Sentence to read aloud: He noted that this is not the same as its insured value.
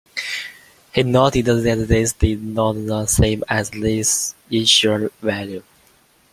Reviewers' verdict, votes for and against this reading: rejected, 0, 2